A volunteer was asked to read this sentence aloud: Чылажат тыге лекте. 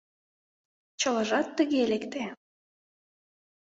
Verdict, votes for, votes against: accepted, 2, 0